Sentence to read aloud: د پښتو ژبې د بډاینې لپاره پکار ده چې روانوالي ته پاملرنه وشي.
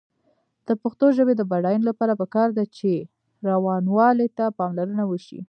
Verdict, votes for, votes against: rejected, 1, 2